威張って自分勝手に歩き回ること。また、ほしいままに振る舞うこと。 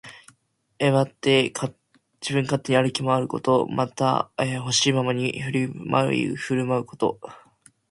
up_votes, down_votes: 0, 2